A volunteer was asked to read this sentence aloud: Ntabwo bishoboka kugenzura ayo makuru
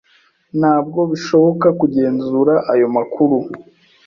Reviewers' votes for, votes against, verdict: 2, 0, accepted